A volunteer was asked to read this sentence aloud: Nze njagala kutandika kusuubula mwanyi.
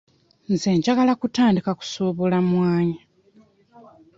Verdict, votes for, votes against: accepted, 2, 0